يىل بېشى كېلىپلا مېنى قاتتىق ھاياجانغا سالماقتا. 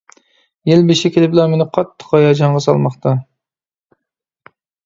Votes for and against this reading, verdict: 2, 0, accepted